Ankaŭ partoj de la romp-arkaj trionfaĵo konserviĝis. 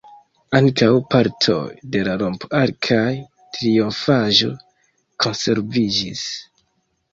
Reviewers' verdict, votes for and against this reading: rejected, 0, 2